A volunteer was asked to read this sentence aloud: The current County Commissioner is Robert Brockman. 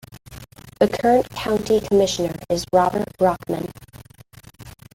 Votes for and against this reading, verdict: 2, 1, accepted